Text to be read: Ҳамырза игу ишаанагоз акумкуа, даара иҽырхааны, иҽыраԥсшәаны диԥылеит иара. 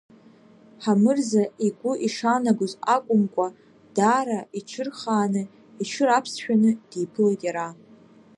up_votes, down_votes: 2, 0